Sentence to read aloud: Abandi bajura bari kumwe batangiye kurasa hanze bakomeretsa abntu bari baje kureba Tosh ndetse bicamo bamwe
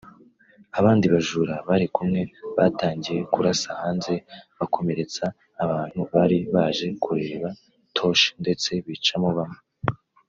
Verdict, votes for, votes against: rejected, 0, 2